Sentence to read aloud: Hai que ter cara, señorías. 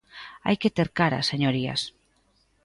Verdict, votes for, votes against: accepted, 2, 0